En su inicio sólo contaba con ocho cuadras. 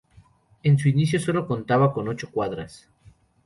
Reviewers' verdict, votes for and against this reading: rejected, 0, 2